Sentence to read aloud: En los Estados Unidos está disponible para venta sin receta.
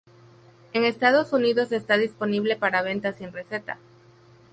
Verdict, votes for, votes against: rejected, 0, 2